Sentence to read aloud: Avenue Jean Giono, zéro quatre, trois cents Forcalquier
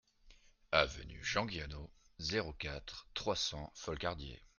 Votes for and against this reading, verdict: 0, 2, rejected